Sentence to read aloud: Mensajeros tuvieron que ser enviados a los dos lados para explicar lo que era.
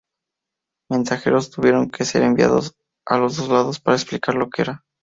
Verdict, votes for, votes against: accepted, 4, 0